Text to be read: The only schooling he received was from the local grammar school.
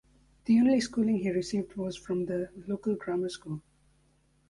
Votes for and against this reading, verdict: 2, 1, accepted